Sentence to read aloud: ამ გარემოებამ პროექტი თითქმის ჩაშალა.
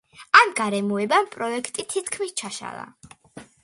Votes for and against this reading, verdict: 2, 0, accepted